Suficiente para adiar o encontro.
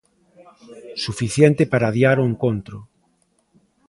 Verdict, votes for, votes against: accepted, 2, 0